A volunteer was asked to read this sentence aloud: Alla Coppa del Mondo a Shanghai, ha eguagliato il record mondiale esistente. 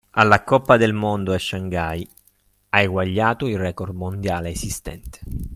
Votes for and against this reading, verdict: 3, 0, accepted